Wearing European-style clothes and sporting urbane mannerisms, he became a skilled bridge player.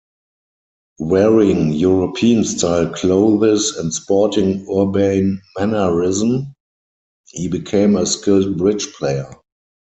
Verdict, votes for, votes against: rejected, 0, 4